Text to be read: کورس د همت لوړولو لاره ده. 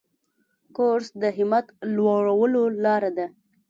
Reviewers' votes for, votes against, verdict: 2, 0, accepted